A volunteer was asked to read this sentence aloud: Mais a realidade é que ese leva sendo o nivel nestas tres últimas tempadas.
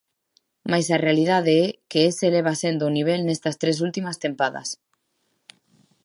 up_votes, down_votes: 2, 0